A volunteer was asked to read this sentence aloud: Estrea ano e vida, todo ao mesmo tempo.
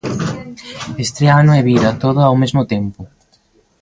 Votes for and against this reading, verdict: 3, 0, accepted